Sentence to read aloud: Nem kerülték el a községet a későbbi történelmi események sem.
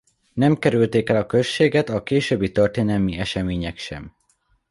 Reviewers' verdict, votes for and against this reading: accepted, 2, 1